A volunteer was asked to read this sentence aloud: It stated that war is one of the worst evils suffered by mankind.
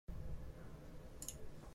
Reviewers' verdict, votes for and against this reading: rejected, 0, 2